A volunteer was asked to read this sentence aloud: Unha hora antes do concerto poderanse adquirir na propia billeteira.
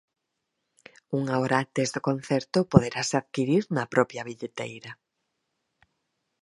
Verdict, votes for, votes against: rejected, 0, 4